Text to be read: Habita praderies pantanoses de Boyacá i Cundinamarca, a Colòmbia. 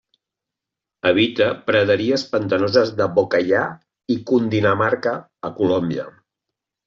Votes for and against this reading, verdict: 1, 2, rejected